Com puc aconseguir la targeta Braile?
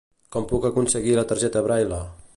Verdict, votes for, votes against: rejected, 1, 2